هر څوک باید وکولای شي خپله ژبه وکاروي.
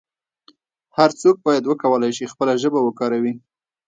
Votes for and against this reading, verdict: 1, 2, rejected